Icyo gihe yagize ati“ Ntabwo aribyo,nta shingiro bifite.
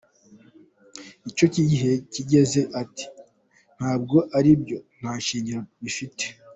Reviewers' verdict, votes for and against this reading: accepted, 2, 1